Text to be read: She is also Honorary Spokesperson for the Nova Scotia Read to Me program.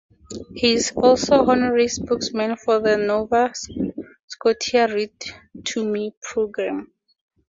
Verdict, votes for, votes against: accepted, 2, 0